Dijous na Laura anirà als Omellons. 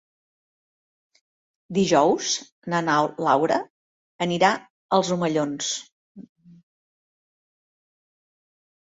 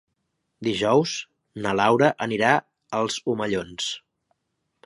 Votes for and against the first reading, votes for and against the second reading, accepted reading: 0, 2, 2, 0, second